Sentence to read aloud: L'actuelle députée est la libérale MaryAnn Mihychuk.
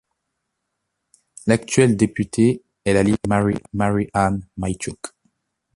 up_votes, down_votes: 0, 2